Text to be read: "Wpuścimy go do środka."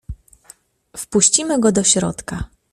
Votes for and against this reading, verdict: 2, 0, accepted